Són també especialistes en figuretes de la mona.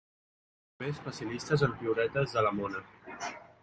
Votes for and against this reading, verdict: 1, 2, rejected